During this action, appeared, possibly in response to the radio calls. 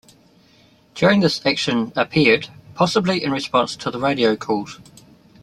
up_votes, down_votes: 2, 0